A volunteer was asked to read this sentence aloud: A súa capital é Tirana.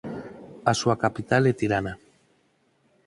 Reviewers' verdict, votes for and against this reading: accepted, 4, 0